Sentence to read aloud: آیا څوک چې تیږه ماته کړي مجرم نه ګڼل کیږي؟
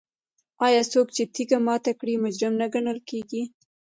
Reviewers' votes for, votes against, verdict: 1, 2, rejected